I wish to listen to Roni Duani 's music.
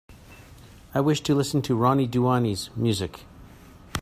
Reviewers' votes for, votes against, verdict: 4, 0, accepted